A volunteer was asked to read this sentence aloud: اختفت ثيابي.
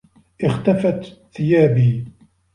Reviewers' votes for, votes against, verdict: 2, 0, accepted